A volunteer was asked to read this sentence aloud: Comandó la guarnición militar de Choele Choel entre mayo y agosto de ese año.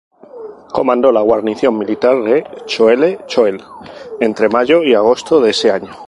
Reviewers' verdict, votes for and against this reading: accepted, 2, 0